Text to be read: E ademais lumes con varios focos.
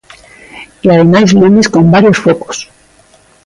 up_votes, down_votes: 2, 0